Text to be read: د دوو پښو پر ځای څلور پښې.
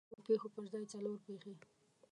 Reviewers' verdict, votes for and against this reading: rejected, 0, 2